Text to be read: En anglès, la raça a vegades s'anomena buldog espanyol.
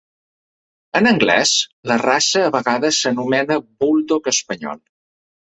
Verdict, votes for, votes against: accepted, 3, 0